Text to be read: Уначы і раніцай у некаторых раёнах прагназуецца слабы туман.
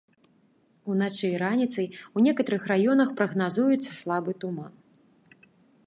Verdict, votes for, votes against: rejected, 1, 4